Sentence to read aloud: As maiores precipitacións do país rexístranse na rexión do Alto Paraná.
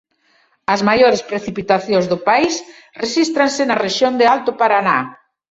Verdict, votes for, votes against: rejected, 1, 2